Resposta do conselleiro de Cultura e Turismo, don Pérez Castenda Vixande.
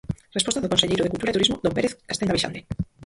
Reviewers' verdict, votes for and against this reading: rejected, 0, 4